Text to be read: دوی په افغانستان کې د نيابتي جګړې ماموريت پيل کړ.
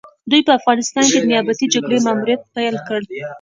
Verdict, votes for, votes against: rejected, 0, 2